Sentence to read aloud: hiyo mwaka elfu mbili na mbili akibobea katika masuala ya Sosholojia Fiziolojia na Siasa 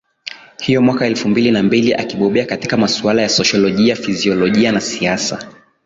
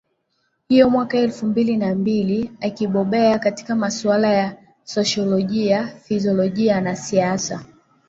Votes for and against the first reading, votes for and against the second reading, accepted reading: 13, 0, 1, 2, first